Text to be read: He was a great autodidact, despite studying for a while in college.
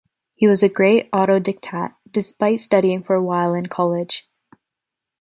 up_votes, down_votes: 0, 2